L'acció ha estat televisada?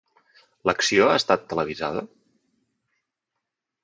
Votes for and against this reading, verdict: 2, 0, accepted